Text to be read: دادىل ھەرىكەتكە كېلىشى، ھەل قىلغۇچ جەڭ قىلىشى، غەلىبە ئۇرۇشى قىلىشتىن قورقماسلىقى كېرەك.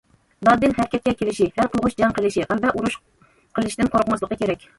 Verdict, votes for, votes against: rejected, 0, 2